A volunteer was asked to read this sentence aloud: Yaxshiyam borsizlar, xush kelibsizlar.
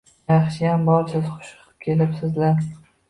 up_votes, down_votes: 0, 2